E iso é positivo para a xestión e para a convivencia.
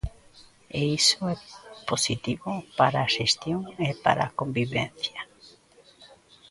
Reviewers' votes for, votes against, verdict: 3, 0, accepted